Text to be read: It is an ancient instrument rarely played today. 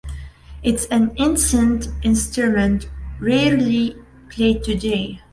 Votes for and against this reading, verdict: 2, 0, accepted